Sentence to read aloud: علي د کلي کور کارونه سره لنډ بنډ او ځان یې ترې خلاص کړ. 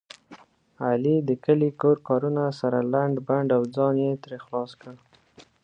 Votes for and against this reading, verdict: 2, 0, accepted